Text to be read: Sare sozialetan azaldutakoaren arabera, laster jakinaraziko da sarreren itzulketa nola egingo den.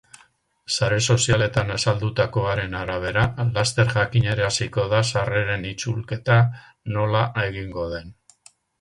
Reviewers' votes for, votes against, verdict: 2, 2, rejected